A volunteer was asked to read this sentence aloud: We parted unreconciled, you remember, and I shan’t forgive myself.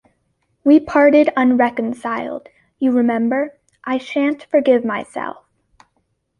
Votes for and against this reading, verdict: 0, 2, rejected